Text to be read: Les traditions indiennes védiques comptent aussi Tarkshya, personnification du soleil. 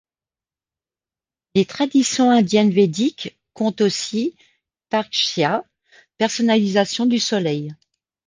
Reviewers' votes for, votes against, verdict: 1, 2, rejected